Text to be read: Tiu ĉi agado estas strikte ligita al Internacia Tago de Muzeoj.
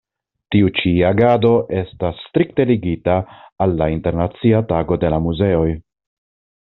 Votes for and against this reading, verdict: 1, 2, rejected